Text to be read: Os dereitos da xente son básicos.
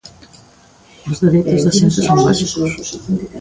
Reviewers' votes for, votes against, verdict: 0, 2, rejected